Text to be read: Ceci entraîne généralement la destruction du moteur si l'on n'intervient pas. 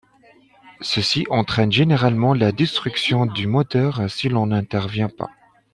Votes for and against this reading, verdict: 2, 0, accepted